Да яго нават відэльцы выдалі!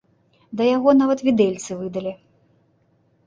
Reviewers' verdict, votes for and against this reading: accepted, 2, 0